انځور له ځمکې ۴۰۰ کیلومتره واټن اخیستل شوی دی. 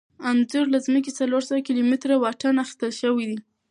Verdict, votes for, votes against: rejected, 0, 2